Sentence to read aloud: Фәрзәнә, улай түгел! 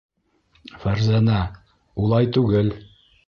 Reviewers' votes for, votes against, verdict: 2, 0, accepted